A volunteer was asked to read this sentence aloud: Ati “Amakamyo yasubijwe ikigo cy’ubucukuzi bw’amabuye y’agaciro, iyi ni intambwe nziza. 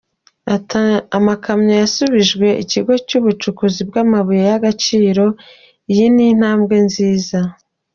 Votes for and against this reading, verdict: 0, 2, rejected